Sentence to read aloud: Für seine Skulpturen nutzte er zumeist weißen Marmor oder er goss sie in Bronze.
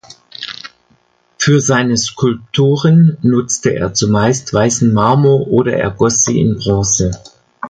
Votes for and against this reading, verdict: 2, 0, accepted